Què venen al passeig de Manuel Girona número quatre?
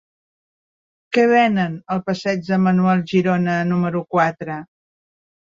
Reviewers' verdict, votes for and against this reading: accepted, 3, 0